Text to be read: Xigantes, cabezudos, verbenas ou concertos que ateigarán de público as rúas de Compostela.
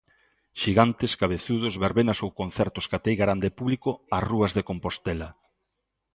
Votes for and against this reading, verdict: 2, 0, accepted